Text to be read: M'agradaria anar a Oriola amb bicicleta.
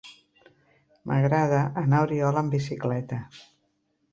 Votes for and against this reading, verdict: 0, 2, rejected